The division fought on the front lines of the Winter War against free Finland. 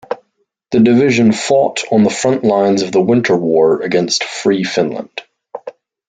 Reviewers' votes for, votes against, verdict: 2, 0, accepted